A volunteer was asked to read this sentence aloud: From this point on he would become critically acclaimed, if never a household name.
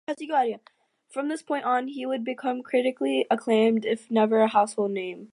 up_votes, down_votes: 0, 2